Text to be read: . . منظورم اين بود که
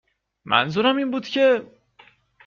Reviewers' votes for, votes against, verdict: 2, 0, accepted